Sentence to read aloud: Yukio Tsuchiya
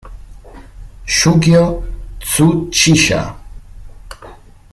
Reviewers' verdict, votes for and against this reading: rejected, 1, 2